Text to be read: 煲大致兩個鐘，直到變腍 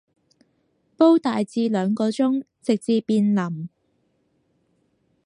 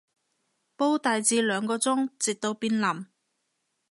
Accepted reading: second